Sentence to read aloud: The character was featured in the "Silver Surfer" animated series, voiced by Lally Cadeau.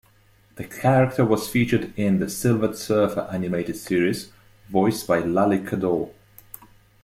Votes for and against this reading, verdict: 2, 0, accepted